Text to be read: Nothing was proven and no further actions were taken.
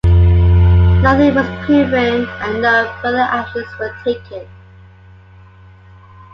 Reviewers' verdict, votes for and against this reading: accepted, 2, 1